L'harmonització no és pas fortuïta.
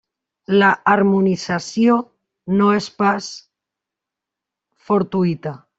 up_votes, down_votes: 0, 2